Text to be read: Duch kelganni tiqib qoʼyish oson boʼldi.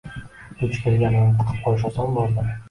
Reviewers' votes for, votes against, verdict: 0, 2, rejected